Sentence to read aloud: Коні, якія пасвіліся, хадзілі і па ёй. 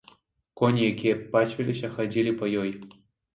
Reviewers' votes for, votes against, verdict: 0, 2, rejected